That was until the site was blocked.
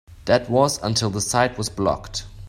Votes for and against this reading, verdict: 2, 0, accepted